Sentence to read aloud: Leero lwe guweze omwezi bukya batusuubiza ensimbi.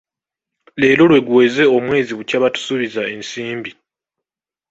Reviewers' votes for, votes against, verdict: 1, 2, rejected